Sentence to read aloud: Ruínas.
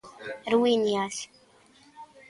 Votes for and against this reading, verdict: 0, 2, rejected